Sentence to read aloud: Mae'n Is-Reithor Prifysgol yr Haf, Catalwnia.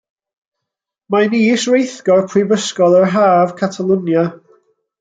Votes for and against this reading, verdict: 0, 2, rejected